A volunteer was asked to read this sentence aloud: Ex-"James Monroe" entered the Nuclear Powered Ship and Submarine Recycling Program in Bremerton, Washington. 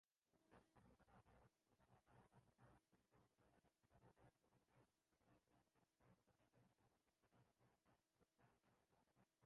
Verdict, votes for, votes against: rejected, 0, 2